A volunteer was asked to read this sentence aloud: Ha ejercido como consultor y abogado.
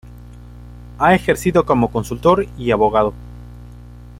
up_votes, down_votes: 2, 0